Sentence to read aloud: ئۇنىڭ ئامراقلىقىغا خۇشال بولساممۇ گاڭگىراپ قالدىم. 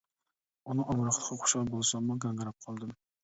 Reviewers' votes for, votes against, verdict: 0, 2, rejected